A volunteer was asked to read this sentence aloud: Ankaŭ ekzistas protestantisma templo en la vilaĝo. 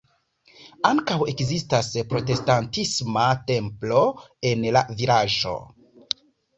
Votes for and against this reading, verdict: 0, 2, rejected